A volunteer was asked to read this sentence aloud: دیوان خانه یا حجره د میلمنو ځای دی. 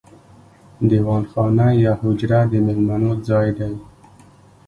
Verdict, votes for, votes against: accepted, 2, 0